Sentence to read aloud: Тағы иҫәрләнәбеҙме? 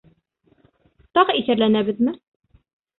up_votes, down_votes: 2, 0